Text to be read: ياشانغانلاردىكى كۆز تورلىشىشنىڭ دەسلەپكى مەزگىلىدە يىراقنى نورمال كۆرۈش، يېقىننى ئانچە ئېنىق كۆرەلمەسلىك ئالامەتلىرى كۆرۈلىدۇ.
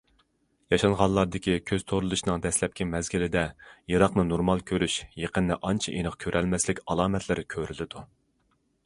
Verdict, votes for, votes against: accepted, 2, 0